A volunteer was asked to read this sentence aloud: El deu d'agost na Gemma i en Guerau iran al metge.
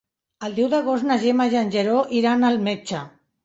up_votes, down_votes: 1, 2